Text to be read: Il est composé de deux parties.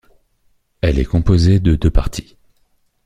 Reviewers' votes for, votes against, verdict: 0, 2, rejected